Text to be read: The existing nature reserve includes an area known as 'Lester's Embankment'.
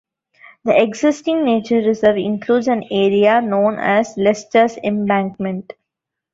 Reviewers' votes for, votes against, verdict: 2, 0, accepted